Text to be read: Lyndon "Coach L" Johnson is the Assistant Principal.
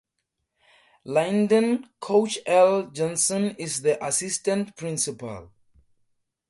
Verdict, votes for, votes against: accepted, 2, 0